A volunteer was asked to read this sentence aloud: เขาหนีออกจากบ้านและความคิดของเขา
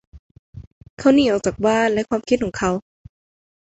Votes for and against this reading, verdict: 1, 2, rejected